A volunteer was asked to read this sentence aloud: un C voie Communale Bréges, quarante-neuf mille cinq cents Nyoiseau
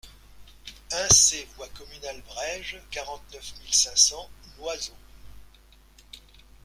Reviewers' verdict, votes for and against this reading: accepted, 2, 0